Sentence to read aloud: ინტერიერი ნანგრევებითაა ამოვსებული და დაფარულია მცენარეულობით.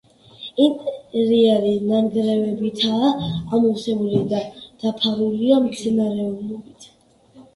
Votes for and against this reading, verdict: 2, 1, accepted